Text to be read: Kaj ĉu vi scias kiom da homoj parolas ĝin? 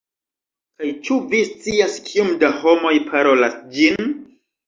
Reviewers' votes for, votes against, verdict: 1, 2, rejected